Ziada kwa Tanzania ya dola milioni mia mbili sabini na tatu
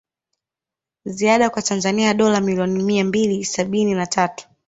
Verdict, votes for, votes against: rejected, 0, 2